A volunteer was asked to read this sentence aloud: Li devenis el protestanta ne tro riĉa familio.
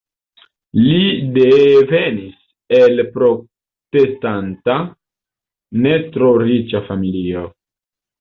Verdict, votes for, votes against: rejected, 0, 2